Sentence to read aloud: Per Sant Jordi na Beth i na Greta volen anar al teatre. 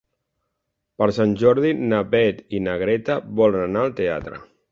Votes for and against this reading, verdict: 3, 0, accepted